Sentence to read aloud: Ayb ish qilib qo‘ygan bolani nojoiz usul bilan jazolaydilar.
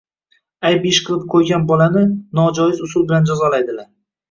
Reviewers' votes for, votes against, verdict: 2, 0, accepted